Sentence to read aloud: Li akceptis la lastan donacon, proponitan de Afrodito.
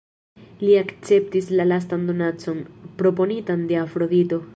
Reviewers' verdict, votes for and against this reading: rejected, 1, 2